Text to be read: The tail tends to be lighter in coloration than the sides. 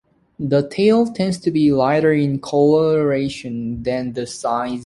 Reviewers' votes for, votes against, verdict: 0, 2, rejected